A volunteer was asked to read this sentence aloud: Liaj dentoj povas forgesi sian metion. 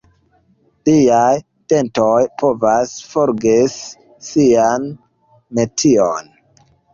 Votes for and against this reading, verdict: 0, 2, rejected